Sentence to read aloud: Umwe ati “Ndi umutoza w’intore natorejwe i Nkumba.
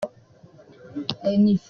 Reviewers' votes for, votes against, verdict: 0, 2, rejected